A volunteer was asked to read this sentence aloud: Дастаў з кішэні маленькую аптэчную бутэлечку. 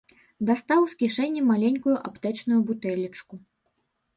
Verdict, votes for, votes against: accepted, 2, 0